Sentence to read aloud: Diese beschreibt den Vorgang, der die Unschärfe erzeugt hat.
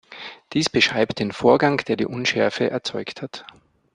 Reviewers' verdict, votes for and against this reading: rejected, 0, 2